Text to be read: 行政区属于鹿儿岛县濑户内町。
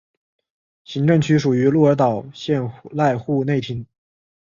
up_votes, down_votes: 4, 0